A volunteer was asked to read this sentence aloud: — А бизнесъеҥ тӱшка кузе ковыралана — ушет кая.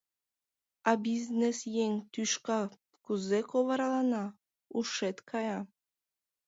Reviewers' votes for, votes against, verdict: 2, 0, accepted